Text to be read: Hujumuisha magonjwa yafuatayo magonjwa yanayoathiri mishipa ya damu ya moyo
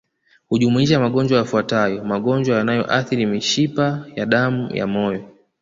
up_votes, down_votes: 2, 0